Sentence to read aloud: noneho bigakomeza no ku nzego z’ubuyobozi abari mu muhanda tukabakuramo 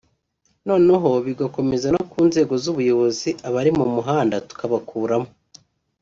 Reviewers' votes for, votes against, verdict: 2, 0, accepted